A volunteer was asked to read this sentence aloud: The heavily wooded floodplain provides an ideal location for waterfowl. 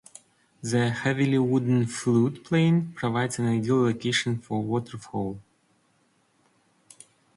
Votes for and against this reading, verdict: 0, 2, rejected